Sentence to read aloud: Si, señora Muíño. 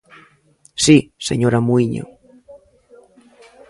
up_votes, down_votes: 0, 2